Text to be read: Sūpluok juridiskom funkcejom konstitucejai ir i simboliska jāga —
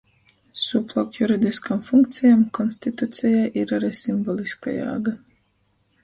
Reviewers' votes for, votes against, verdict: 0, 2, rejected